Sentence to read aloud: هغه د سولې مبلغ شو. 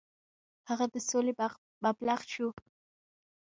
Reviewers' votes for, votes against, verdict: 1, 2, rejected